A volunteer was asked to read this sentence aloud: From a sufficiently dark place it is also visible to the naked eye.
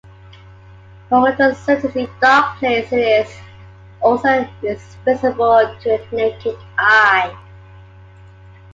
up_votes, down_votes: 0, 2